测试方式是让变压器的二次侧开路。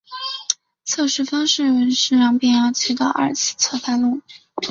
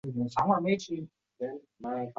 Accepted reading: first